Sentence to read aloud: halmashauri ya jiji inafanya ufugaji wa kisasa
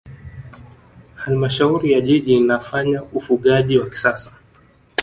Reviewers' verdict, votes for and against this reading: accepted, 2, 1